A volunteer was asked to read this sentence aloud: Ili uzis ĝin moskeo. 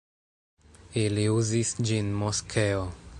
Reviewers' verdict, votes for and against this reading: accepted, 2, 0